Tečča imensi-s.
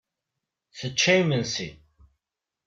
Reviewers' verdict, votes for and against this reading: rejected, 1, 2